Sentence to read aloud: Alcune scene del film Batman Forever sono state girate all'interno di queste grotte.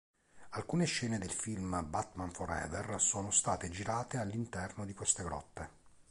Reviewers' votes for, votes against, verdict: 2, 0, accepted